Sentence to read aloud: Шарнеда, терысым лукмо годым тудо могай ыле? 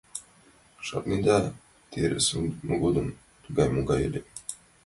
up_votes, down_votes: 1, 2